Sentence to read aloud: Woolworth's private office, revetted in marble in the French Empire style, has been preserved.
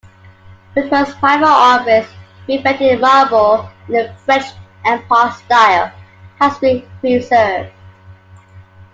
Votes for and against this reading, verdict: 0, 2, rejected